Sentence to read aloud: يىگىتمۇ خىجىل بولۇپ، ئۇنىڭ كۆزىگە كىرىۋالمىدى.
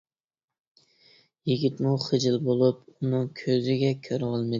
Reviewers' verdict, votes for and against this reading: rejected, 1, 2